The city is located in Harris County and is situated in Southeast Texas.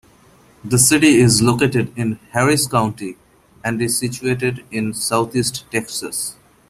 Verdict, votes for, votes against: accepted, 2, 0